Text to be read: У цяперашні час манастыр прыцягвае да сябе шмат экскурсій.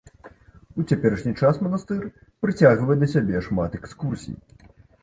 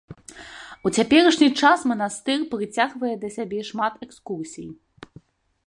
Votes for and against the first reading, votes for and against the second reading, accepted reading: 2, 0, 1, 2, first